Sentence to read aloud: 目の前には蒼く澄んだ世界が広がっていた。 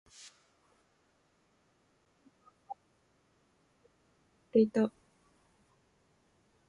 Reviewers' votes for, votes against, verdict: 0, 2, rejected